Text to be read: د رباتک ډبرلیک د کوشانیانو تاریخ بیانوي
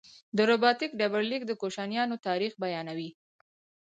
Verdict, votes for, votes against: accepted, 2, 0